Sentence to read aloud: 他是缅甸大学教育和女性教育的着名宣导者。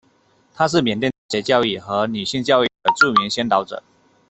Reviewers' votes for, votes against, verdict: 0, 2, rejected